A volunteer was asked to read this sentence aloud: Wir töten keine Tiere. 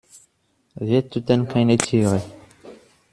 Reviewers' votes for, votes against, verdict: 2, 0, accepted